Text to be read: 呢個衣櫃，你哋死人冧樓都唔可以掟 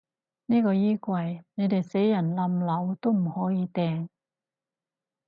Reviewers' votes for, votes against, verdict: 4, 0, accepted